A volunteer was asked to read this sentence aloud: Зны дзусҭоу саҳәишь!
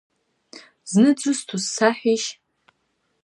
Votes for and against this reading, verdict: 2, 1, accepted